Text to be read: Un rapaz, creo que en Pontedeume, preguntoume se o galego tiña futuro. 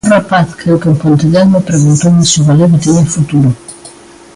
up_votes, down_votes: 1, 2